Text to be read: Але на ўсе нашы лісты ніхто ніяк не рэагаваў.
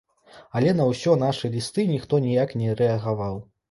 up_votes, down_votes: 0, 2